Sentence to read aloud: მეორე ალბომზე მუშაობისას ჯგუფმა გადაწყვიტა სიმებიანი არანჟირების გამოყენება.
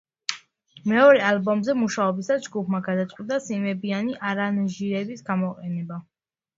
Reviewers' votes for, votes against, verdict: 2, 1, accepted